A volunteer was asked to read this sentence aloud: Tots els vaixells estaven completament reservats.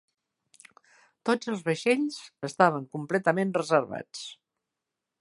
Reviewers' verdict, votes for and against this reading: accepted, 3, 0